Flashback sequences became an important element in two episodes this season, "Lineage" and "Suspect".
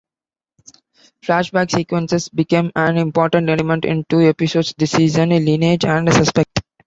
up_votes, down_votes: 2, 1